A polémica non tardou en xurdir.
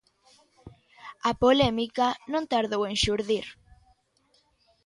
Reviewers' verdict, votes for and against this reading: accepted, 2, 0